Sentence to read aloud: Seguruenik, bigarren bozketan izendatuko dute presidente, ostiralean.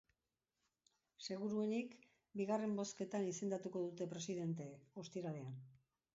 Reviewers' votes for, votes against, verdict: 0, 2, rejected